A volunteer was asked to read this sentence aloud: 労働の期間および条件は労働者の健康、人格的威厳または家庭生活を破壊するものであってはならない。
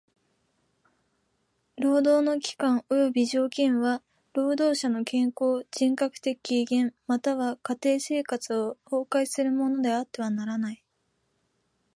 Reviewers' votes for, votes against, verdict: 0, 2, rejected